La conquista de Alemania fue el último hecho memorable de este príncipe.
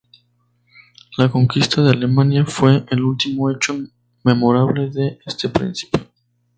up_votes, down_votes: 2, 0